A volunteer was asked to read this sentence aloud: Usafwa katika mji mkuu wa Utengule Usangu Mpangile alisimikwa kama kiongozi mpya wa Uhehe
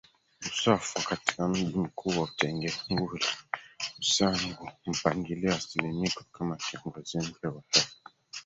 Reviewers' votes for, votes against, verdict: 0, 3, rejected